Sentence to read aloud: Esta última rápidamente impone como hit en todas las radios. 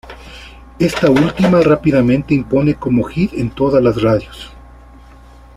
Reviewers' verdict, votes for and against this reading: accepted, 2, 1